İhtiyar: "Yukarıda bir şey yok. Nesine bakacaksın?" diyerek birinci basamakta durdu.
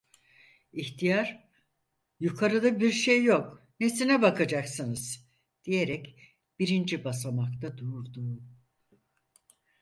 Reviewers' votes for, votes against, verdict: 0, 6, rejected